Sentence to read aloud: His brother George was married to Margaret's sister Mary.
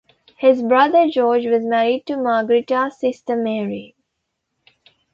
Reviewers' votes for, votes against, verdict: 1, 2, rejected